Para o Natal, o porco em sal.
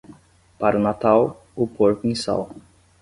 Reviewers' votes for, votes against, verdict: 10, 0, accepted